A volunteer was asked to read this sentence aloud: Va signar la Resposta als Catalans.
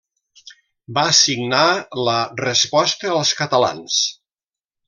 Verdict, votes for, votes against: accepted, 2, 0